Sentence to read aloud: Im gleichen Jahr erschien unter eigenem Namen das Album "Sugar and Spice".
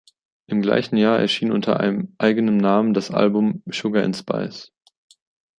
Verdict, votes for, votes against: rejected, 0, 2